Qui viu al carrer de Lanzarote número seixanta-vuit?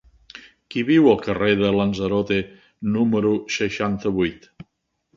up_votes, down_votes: 2, 0